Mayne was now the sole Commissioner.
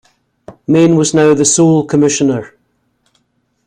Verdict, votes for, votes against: accepted, 2, 0